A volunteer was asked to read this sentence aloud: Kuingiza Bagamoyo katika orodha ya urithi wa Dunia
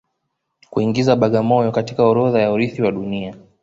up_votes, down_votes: 2, 0